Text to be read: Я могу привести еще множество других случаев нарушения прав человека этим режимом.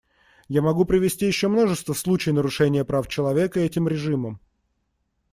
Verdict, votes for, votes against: rejected, 1, 2